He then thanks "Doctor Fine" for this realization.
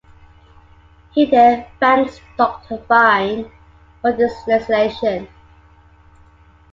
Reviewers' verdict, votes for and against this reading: accepted, 2, 1